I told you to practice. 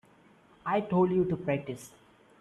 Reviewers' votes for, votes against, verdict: 3, 0, accepted